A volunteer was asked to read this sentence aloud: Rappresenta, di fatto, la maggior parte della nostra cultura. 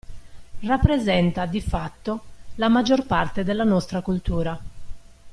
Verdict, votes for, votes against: accepted, 2, 1